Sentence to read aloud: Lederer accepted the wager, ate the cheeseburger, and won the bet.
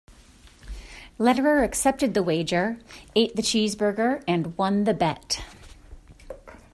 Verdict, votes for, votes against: accepted, 2, 0